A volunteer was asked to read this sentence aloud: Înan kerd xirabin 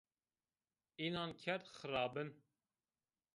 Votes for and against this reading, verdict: 0, 2, rejected